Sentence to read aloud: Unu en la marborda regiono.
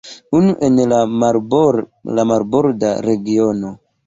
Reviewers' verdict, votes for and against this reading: rejected, 1, 2